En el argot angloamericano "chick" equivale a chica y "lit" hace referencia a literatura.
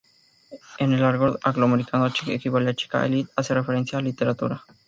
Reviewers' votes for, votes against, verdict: 0, 2, rejected